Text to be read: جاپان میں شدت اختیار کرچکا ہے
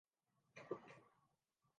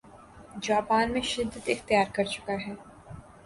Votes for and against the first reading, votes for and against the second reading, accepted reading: 0, 2, 2, 0, second